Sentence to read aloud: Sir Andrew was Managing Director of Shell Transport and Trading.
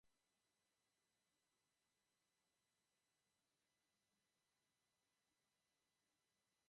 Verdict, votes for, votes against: rejected, 0, 2